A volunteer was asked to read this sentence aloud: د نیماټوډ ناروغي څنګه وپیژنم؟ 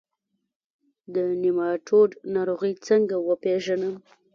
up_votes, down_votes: 1, 2